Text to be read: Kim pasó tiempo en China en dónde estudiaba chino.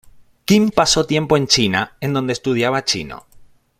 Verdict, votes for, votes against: accepted, 2, 0